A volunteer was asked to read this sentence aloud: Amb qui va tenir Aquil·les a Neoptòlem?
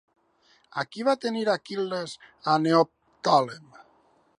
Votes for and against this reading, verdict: 0, 2, rejected